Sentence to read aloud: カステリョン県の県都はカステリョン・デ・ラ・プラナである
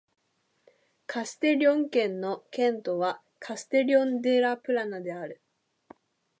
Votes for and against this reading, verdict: 2, 0, accepted